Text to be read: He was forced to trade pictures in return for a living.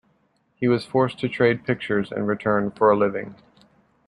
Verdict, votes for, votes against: accepted, 2, 0